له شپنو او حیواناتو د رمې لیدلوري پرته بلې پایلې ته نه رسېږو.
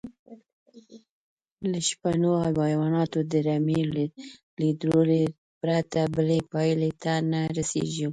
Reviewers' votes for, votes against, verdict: 1, 2, rejected